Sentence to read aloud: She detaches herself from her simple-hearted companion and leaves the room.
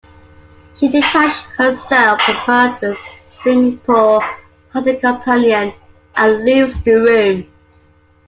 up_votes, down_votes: 1, 2